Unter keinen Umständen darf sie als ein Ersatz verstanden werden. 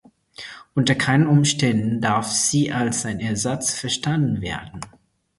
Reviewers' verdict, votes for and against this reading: accepted, 4, 0